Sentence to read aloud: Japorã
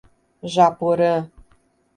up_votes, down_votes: 2, 0